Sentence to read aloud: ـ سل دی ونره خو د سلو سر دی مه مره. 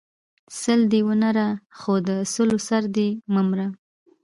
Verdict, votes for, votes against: rejected, 1, 2